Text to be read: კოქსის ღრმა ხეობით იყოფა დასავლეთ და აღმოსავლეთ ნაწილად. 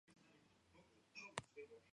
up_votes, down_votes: 1, 2